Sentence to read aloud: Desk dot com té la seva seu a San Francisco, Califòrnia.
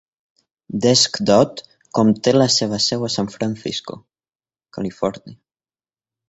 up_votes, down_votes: 0, 2